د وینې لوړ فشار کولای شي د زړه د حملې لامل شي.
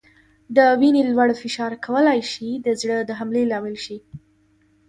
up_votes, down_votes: 2, 0